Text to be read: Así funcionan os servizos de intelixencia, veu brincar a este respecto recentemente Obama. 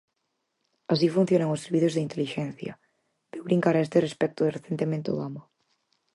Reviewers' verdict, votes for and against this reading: accepted, 4, 0